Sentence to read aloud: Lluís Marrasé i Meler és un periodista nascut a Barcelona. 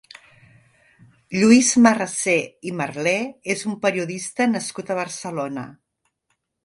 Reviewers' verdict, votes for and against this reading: rejected, 1, 2